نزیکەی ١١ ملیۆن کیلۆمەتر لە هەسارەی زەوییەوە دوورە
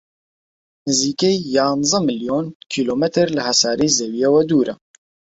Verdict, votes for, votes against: rejected, 0, 2